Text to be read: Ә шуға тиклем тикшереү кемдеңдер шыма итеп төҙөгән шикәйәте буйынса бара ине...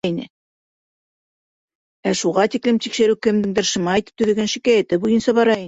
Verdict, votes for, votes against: rejected, 0, 2